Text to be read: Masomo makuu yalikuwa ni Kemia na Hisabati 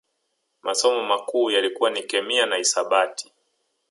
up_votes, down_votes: 1, 2